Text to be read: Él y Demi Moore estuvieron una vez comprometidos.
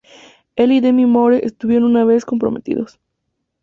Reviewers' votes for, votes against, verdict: 2, 0, accepted